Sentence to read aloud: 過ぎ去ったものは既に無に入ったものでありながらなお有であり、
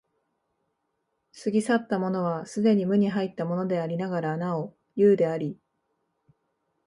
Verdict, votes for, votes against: accepted, 2, 0